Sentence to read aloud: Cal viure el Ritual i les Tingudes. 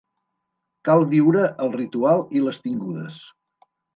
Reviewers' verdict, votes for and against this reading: accepted, 2, 0